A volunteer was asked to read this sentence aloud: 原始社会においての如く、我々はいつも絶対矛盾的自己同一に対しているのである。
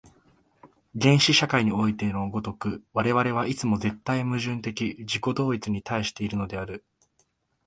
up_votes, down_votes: 2, 0